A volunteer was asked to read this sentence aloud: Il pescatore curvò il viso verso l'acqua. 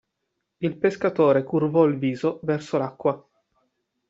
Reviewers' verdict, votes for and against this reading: accepted, 2, 0